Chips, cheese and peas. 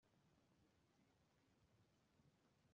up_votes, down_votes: 0, 2